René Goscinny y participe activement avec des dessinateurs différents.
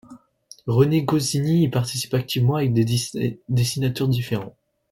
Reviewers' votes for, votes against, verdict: 0, 2, rejected